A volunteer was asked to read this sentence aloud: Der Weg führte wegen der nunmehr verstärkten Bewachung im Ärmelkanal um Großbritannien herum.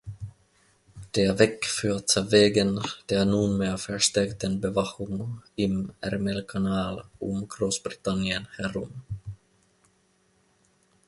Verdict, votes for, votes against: accepted, 2, 1